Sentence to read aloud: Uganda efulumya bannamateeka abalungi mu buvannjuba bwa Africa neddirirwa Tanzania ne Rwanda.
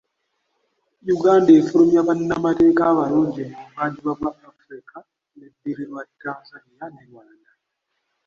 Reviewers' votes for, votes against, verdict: 1, 2, rejected